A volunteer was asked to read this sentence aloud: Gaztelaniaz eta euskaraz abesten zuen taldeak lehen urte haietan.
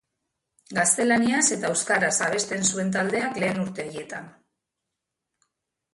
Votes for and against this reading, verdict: 2, 1, accepted